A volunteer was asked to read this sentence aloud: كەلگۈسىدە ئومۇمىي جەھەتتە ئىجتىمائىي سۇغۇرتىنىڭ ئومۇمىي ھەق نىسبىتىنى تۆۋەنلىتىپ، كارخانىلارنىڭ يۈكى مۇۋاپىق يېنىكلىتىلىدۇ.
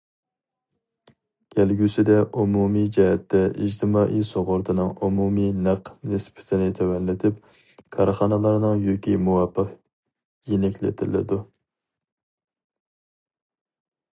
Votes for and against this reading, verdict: 0, 2, rejected